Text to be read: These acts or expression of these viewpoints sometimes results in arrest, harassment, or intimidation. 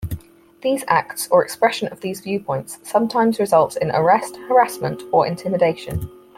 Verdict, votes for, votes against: accepted, 4, 0